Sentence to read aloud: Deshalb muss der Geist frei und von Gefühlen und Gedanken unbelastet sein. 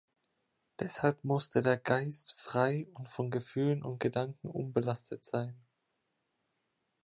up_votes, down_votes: 1, 2